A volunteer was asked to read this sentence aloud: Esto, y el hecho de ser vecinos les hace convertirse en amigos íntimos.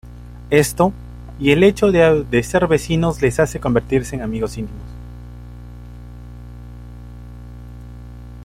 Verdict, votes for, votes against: rejected, 2, 3